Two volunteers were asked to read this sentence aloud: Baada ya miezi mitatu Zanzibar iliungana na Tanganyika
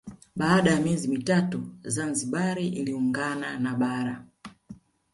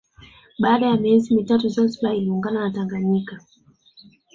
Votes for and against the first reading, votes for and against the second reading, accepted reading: 1, 2, 2, 1, second